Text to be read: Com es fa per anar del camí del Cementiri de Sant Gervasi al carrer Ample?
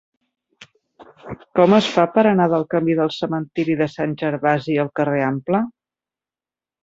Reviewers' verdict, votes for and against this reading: accepted, 3, 0